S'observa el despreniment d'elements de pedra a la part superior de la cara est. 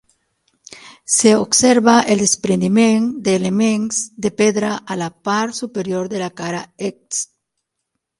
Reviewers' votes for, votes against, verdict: 3, 6, rejected